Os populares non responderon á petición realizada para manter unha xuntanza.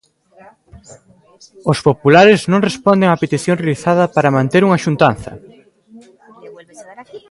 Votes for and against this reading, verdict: 0, 2, rejected